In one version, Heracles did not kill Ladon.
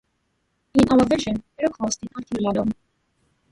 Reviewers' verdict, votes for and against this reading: rejected, 0, 2